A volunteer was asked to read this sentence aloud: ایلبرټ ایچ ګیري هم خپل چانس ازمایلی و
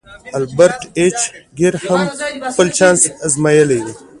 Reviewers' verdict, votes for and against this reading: accepted, 2, 0